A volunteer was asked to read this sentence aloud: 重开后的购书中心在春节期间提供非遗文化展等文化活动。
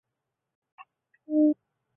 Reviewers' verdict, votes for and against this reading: rejected, 0, 2